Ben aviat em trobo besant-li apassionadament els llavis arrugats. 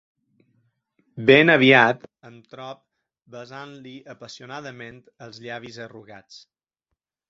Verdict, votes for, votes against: rejected, 0, 3